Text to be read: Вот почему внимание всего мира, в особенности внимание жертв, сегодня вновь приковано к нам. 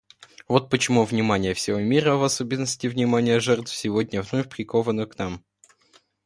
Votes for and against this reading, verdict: 1, 2, rejected